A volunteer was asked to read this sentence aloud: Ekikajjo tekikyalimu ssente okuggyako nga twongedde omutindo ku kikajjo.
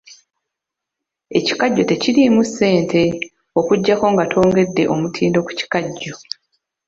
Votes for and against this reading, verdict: 1, 2, rejected